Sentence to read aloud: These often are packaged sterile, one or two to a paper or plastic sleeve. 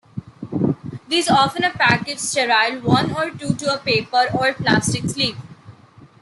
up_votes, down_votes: 2, 0